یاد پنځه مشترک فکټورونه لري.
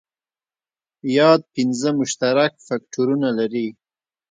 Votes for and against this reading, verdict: 2, 0, accepted